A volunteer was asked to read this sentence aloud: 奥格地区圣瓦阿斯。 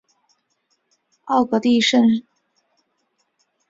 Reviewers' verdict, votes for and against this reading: rejected, 1, 3